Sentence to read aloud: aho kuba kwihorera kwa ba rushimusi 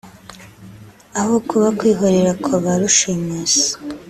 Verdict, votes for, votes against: accepted, 3, 0